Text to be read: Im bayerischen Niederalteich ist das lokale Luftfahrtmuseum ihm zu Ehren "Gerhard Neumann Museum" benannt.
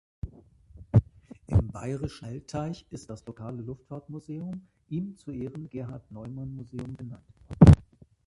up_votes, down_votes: 0, 2